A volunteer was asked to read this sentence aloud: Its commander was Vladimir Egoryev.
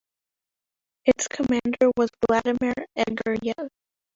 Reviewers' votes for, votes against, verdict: 2, 3, rejected